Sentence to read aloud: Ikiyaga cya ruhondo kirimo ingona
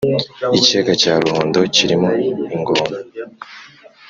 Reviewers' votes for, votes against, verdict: 2, 0, accepted